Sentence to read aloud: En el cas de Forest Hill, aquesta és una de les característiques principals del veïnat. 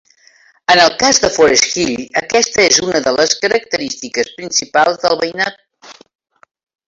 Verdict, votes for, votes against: rejected, 0, 2